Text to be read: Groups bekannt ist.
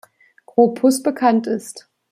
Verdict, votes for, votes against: rejected, 0, 2